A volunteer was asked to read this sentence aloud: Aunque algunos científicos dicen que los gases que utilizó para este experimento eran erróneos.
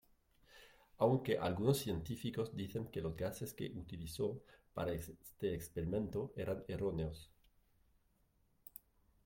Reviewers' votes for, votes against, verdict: 2, 1, accepted